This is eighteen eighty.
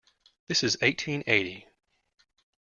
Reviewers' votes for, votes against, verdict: 2, 0, accepted